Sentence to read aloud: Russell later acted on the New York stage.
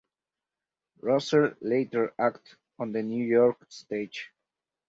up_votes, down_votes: 0, 4